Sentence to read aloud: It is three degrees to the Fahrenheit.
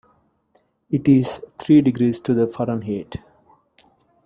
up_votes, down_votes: 2, 0